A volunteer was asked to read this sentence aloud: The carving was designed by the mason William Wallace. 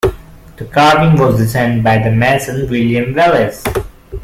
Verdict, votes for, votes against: rejected, 1, 2